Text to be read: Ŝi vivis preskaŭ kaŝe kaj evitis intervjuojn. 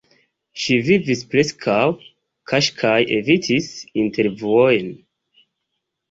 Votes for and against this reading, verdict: 1, 2, rejected